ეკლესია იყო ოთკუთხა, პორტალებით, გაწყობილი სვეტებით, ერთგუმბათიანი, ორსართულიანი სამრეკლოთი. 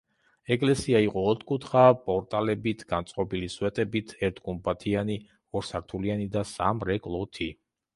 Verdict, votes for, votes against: rejected, 0, 2